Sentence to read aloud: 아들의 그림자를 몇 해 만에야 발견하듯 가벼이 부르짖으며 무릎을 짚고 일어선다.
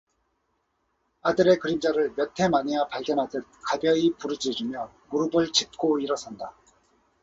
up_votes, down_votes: 4, 0